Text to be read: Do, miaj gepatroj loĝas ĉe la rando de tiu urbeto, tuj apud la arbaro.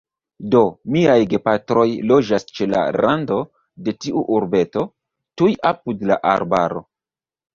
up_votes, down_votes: 2, 0